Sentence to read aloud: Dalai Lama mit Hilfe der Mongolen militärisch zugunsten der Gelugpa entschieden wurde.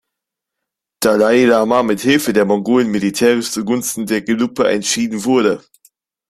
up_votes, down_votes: 1, 2